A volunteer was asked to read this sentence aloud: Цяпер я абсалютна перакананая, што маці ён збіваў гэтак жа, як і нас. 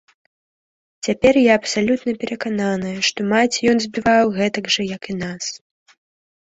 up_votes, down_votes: 2, 1